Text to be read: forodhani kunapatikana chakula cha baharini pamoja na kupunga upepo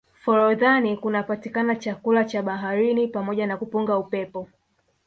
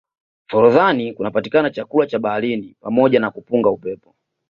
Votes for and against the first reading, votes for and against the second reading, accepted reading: 0, 2, 2, 0, second